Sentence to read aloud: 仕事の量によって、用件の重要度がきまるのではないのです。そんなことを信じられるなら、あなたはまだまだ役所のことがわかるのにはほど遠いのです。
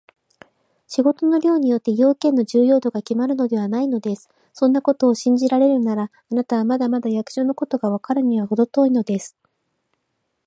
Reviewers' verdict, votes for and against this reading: rejected, 1, 2